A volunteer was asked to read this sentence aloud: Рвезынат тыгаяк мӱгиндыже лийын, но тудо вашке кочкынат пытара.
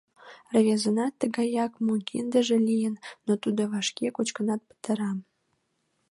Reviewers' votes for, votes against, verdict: 0, 2, rejected